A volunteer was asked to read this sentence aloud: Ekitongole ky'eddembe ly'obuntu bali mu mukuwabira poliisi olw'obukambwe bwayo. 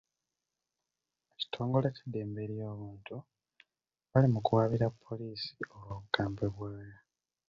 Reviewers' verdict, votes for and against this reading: rejected, 0, 2